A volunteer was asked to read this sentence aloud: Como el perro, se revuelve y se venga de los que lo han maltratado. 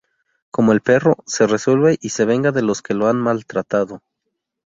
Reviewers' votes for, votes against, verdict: 0, 2, rejected